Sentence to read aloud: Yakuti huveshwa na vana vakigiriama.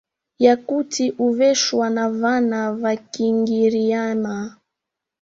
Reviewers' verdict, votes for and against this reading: rejected, 1, 2